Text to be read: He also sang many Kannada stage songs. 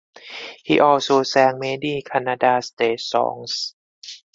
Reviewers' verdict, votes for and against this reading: accepted, 4, 0